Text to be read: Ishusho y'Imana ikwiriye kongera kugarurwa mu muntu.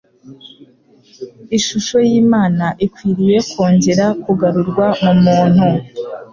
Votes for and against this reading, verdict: 2, 0, accepted